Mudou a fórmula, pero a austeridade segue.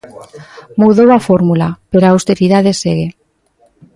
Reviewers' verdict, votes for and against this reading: rejected, 0, 2